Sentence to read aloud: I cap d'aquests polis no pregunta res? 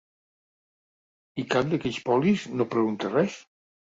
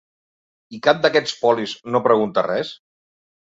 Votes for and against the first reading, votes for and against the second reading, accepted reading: 1, 2, 3, 0, second